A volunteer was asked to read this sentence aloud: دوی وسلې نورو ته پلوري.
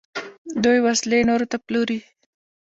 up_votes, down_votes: 2, 0